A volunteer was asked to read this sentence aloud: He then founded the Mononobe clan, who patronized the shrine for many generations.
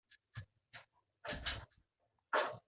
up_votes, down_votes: 0, 2